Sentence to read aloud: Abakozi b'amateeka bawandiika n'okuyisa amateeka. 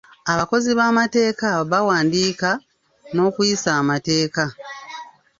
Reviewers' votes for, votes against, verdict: 2, 1, accepted